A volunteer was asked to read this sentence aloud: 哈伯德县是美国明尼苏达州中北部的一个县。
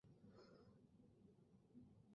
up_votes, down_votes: 0, 2